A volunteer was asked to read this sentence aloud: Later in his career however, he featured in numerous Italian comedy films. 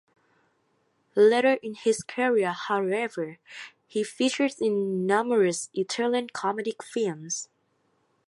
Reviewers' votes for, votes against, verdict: 1, 2, rejected